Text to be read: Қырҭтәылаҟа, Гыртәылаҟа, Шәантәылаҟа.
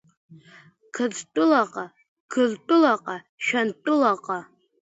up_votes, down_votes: 2, 0